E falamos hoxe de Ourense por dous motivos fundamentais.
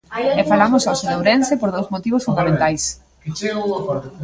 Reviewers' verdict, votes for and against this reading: rejected, 1, 2